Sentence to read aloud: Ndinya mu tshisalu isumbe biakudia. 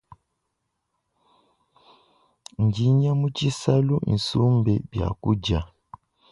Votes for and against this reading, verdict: 2, 0, accepted